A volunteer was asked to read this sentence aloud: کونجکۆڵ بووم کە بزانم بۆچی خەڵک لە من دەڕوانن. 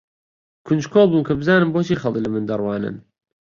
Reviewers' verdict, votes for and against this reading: accepted, 2, 1